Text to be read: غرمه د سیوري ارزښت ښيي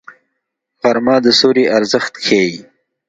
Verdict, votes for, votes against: accepted, 2, 0